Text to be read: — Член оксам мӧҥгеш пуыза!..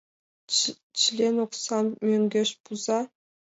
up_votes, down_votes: 3, 4